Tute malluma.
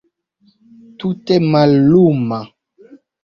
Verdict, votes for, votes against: accepted, 2, 0